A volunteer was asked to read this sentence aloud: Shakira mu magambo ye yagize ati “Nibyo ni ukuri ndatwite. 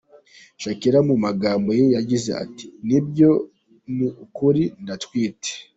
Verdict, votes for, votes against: rejected, 1, 2